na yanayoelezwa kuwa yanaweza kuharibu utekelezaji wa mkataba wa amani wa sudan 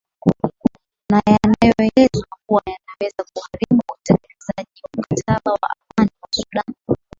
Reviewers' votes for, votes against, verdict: 1, 4, rejected